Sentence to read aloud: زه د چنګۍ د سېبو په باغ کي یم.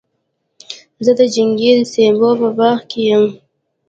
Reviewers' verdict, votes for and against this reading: accepted, 2, 1